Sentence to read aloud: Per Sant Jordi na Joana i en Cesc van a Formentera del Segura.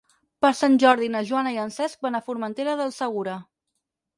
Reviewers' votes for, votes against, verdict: 6, 0, accepted